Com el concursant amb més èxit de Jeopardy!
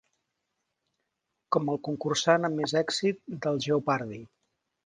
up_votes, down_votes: 1, 3